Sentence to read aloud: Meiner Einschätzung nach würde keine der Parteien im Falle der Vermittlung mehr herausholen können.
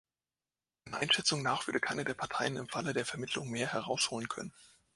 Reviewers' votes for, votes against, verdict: 0, 2, rejected